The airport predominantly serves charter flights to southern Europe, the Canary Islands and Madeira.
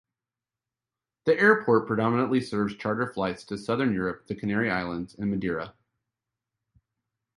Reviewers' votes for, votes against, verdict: 2, 0, accepted